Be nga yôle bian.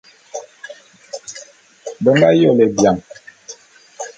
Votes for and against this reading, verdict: 2, 0, accepted